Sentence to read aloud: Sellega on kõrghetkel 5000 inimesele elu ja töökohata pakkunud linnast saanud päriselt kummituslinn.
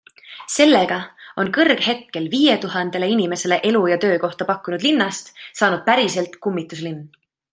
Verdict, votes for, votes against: rejected, 0, 2